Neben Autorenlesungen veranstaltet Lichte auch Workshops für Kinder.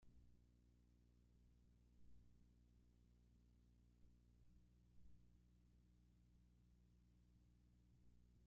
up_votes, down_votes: 0, 2